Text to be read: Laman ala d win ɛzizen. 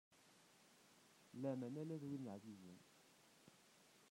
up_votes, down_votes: 0, 2